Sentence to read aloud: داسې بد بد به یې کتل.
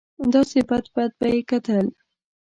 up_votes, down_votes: 2, 1